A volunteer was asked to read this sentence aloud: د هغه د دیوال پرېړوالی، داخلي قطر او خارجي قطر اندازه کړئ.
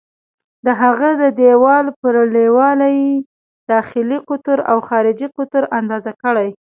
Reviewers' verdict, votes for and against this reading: rejected, 1, 2